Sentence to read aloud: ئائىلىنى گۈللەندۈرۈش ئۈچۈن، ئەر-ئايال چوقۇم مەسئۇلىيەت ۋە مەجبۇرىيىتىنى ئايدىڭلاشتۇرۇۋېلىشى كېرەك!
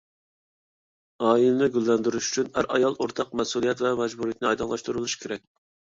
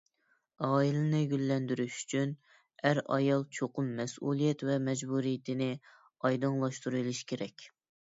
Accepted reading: second